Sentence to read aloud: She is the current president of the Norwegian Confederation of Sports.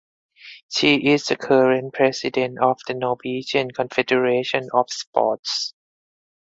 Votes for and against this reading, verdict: 4, 0, accepted